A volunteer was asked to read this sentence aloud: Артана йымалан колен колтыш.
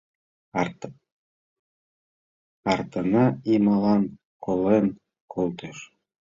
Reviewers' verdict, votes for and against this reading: rejected, 0, 2